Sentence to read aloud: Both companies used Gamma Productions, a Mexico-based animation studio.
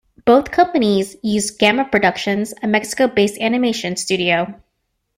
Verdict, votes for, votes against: accepted, 2, 0